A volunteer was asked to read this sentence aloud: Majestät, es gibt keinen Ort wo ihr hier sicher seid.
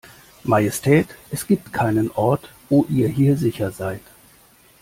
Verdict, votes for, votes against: accepted, 2, 0